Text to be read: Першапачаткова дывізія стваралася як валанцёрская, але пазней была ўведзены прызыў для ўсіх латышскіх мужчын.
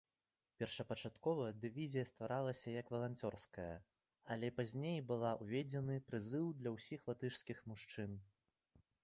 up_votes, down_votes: 2, 0